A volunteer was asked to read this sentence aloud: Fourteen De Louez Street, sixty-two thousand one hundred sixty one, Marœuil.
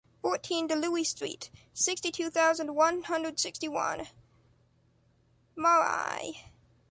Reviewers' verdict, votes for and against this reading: rejected, 1, 2